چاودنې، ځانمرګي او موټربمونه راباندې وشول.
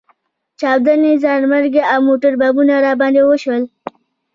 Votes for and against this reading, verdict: 1, 2, rejected